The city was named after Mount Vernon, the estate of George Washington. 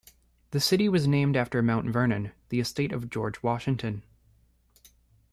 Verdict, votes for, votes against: accepted, 2, 0